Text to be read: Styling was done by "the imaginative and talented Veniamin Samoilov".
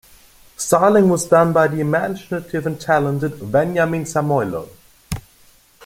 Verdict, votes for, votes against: accepted, 2, 0